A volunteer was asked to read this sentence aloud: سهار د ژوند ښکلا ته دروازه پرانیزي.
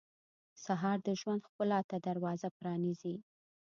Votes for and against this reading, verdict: 2, 0, accepted